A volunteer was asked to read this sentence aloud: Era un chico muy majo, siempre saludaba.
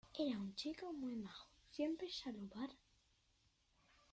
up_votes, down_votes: 0, 2